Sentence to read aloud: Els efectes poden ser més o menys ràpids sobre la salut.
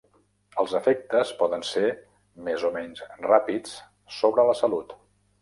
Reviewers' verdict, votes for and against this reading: accepted, 3, 0